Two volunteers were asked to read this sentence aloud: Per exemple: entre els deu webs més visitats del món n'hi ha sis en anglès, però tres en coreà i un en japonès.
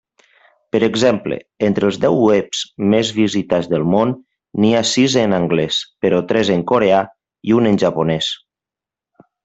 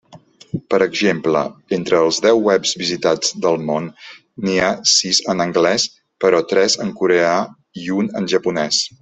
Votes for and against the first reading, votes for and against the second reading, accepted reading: 2, 0, 1, 2, first